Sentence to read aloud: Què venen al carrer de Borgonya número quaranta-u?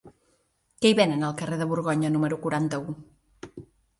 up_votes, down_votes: 1, 2